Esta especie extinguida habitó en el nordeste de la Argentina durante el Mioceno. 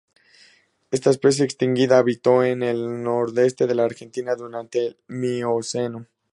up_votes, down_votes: 0, 2